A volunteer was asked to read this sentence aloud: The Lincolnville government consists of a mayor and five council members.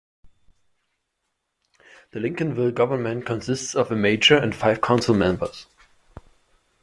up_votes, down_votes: 0, 2